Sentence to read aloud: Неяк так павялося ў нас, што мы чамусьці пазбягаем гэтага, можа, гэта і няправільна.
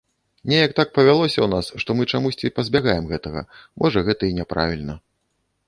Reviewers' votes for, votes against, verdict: 2, 0, accepted